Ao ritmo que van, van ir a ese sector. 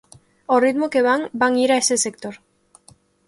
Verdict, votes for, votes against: accepted, 2, 0